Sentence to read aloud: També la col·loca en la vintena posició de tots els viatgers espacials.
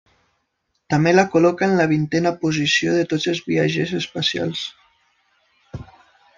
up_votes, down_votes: 1, 2